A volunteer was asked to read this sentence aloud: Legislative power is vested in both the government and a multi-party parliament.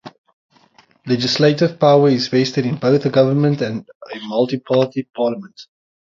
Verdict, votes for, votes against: accepted, 6, 0